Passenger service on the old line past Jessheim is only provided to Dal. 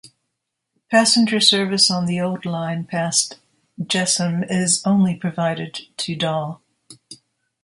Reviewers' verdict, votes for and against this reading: accepted, 2, 0